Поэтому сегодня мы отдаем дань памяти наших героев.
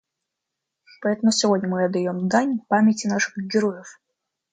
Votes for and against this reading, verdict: 2, 0, accepted